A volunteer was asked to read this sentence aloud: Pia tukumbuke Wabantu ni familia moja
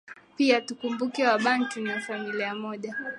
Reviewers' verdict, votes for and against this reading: accepted, 6, 5